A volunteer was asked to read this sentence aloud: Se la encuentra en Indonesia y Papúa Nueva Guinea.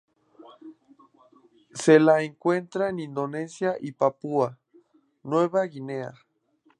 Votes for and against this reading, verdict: 2, 0, accepted